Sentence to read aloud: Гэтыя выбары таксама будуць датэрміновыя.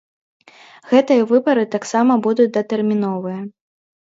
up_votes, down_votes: 4, 0